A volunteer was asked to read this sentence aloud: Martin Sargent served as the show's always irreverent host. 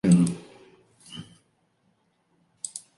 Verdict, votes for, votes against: rejected, 0, 2